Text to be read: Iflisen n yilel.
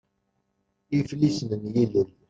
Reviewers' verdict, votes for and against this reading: rejected, 1, 2